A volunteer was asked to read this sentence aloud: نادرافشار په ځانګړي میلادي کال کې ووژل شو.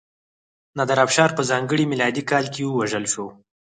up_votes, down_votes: 2, 4